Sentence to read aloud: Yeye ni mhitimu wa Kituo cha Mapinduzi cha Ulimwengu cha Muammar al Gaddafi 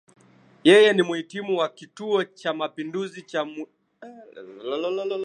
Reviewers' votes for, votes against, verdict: 0, 2, rejected